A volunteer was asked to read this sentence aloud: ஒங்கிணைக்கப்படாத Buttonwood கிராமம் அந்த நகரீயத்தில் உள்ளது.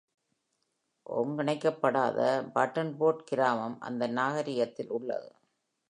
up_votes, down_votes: 3, 2